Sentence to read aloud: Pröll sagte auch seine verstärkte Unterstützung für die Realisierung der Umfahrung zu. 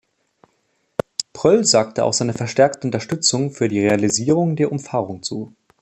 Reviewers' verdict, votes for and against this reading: accepted, 2, 0